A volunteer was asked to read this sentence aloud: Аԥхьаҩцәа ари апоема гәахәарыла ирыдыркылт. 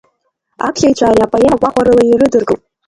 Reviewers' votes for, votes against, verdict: 2, 0, accepted